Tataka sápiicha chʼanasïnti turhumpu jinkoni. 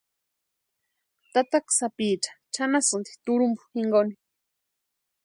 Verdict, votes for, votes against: accepted, 2, 0